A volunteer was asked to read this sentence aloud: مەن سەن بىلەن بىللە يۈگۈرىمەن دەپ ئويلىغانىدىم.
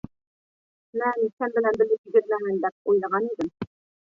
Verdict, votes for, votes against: rejected, 1, 2